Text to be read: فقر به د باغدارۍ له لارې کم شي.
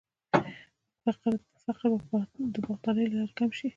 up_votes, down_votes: 0, 2